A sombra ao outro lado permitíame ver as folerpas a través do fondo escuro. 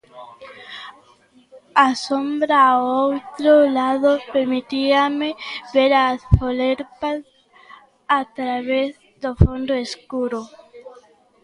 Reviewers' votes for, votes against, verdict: 1, 2, rejected